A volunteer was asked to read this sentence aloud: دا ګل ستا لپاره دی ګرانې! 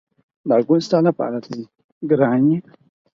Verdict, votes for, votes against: accepted, 6, 2